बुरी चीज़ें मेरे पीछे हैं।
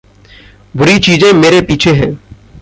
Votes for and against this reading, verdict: 1, 2, rejected